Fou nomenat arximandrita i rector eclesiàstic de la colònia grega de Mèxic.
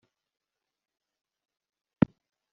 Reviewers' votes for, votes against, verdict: 0, 2, rejected